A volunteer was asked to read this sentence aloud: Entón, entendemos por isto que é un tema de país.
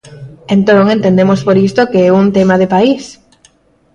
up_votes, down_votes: 3, 0